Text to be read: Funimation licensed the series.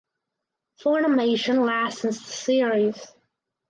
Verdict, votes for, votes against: accepted, 4, 0